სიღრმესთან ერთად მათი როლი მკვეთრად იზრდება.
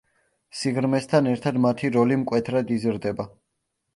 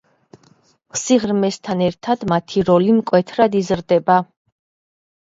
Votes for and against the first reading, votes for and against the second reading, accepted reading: 2, 0, 1, 2, first